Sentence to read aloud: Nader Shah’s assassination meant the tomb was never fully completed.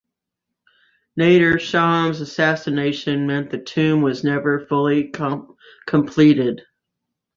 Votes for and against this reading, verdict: 0, 2, rejected